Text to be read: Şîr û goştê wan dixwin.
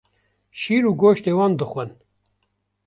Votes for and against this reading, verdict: 1, 2, rejected